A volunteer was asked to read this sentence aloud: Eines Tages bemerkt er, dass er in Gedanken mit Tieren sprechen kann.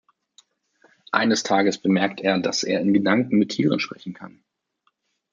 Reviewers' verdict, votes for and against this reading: accepted, 2, 0